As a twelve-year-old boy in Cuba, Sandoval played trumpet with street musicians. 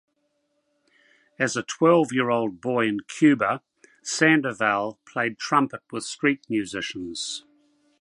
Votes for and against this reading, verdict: 2, 0, accepted